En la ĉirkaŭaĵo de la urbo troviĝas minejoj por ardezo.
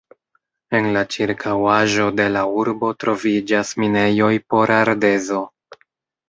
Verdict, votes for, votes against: accepted, 2, 0